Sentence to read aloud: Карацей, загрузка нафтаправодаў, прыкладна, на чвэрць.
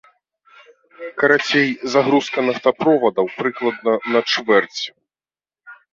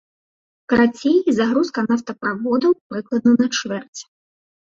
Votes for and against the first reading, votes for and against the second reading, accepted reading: 0, 2, 2, 0, second